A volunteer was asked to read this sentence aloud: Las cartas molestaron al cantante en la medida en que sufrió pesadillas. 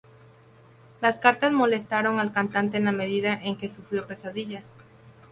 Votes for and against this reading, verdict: 4, 0, accepted